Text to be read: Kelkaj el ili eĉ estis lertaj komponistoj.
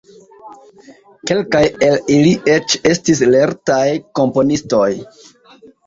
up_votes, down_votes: 2, 0